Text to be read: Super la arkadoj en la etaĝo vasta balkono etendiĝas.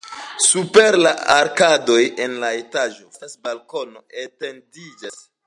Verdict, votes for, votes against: accepted, 2, 0